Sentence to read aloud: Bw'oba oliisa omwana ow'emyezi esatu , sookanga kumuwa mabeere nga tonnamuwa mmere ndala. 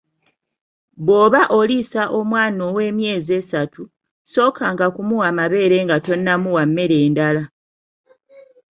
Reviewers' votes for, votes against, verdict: 2, 0, accepted